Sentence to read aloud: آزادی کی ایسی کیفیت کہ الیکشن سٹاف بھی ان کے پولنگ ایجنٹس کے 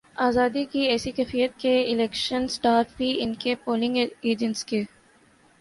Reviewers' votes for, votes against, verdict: 2, 1, accepted